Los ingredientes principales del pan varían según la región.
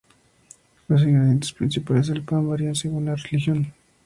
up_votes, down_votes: 0, 2